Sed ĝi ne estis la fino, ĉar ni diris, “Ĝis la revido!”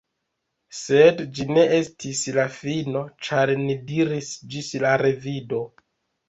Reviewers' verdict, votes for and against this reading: accepted, 2, 0